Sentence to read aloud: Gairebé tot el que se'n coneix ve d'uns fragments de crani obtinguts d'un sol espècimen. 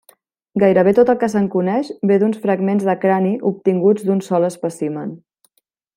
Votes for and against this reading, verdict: 3, 1, accepted